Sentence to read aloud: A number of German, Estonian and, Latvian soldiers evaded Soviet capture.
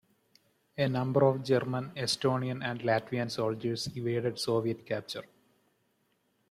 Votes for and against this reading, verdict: 1, 2, rejected